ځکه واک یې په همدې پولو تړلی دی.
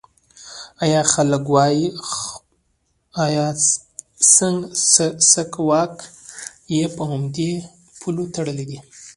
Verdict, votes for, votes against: rejected, 1, 2